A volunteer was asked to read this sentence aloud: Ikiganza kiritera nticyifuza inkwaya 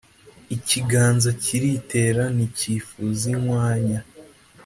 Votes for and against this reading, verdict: 2, 0, accepted